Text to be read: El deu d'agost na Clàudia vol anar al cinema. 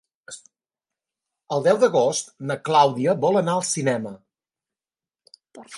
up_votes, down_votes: 2, 1